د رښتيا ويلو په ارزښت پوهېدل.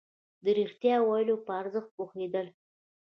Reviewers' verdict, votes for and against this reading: rejected, 0, 2